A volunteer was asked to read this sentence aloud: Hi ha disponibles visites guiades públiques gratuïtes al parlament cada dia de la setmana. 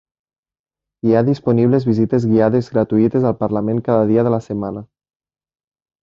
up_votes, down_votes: 0, 2